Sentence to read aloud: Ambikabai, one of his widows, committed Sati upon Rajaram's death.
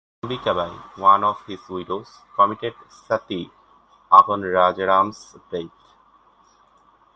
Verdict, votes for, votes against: rejected, 1, 2